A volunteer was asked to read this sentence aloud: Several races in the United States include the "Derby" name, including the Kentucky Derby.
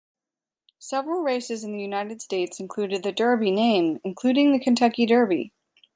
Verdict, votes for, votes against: rejected, 1, 2